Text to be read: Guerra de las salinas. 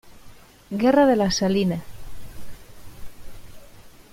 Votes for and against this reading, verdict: 0, 2, rejected